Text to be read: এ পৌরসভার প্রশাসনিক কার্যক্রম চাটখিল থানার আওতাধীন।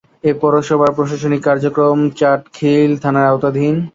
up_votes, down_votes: 1, 3